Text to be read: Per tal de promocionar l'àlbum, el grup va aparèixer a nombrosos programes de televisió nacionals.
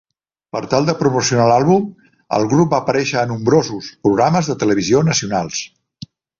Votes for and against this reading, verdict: 2, 0, accepted